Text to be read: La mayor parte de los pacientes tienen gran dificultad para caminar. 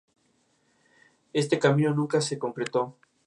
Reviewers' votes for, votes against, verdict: 2, 2, rejected